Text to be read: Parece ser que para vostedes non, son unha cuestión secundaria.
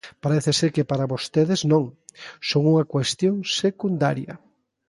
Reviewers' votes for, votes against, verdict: 2, 0, accepted